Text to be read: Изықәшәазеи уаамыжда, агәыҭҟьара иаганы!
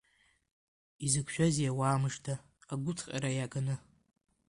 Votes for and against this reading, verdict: 2, 0, accepted